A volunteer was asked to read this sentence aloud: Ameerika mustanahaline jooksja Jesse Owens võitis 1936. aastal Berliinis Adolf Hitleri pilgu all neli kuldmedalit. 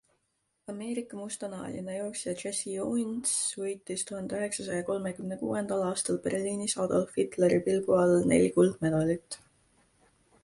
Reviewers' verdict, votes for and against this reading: rejected, 0, 2